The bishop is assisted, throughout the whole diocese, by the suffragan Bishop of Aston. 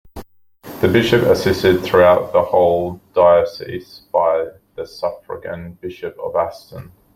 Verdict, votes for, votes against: rejected, 1, 2